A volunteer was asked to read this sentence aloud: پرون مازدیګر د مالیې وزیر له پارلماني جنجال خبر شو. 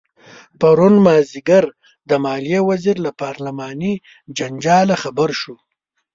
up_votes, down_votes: 1, 2